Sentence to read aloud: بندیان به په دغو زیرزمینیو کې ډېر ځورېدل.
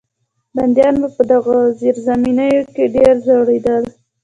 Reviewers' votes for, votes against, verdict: 2, 0, accepted